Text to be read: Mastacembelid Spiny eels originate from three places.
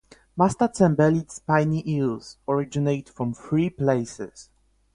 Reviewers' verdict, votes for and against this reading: accepted, 4, 0